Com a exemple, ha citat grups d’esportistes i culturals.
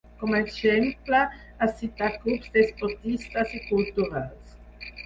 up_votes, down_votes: 0, 4